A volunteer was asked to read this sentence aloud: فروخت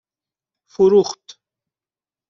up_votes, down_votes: 2, 0